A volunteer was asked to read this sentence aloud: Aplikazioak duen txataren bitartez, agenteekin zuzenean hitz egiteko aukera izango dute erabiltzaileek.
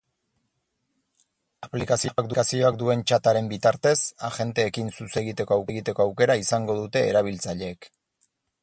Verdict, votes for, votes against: rejected, 0, 4